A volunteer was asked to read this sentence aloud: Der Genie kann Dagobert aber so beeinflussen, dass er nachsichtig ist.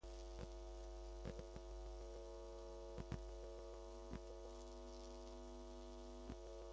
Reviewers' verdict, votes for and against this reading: rejected, 0, 2